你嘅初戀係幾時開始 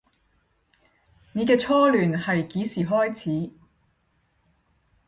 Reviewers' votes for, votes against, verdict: 5, 10, rejected